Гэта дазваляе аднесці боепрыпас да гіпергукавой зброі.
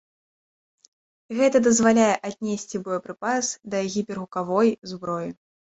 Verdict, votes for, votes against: accepted, 2, 1